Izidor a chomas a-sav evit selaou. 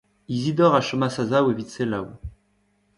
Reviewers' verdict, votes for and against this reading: rejected, 1, 2